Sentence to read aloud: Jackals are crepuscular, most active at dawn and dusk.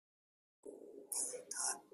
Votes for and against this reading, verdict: 0, 2, rejected